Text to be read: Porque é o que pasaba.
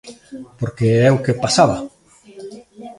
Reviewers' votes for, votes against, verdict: 2, 1, accepted